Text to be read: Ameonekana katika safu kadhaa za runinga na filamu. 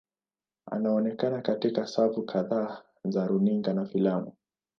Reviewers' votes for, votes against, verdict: 2, 0, accepted